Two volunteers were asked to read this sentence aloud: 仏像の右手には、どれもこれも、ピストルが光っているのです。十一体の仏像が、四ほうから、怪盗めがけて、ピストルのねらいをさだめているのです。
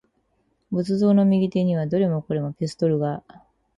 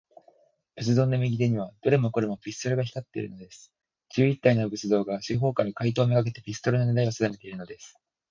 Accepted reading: second